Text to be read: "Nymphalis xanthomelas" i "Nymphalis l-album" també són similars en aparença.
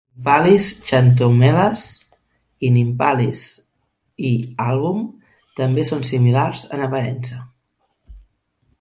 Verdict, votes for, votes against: rejected, 1, 2